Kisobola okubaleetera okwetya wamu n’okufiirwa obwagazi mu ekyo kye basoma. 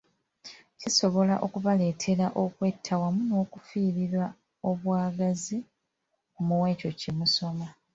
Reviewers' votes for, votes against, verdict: 0, 2, rejected